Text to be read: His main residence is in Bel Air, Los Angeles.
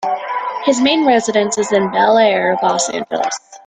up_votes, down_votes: 2, 1